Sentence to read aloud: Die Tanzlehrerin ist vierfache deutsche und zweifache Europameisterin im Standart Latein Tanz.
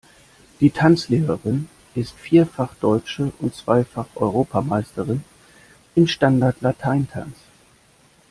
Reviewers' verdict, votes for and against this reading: rejected, 0, 2